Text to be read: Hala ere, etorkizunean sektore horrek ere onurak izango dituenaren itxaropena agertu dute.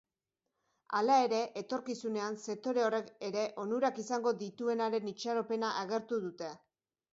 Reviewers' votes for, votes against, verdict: 9, 3, accepted